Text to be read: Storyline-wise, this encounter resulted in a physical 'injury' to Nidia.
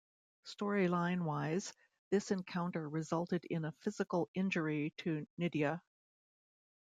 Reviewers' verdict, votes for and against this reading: accepted, 2, 0